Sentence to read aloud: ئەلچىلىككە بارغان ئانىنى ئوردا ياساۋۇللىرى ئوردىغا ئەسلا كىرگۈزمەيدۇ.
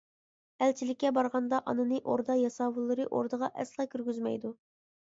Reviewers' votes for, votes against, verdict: 0, 2, rejected